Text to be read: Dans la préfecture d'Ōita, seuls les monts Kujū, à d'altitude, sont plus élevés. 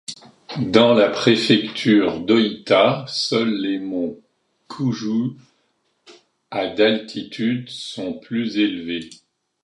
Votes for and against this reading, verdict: 2, 0, accepted